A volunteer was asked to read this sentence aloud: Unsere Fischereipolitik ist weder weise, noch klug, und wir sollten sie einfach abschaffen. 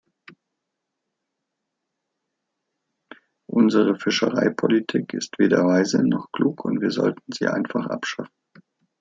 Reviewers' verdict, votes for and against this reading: rejected, 1, 2